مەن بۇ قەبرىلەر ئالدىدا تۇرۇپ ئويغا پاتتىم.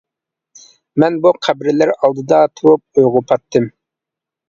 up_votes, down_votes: 2, 0